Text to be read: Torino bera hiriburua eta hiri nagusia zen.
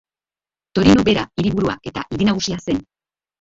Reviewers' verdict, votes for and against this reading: rejected, 0, 3